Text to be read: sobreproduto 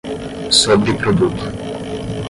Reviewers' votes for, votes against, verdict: 10, 0, accepted